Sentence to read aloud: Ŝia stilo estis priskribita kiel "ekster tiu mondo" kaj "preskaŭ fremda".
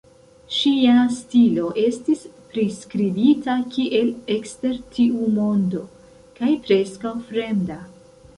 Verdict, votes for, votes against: accepted, 2, 1